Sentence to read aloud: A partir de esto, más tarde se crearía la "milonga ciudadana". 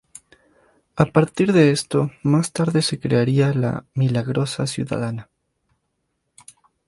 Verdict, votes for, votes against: rejected, 0, 2